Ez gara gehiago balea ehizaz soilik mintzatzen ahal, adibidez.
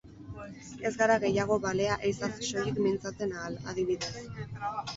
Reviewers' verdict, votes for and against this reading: rejected, 0, 4